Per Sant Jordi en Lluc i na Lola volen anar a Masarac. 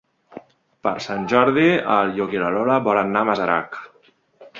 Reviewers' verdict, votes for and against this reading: rejected, 1, 2